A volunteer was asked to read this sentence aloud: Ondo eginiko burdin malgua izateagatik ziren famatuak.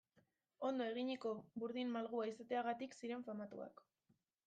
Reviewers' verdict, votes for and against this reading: accepted, 2, 0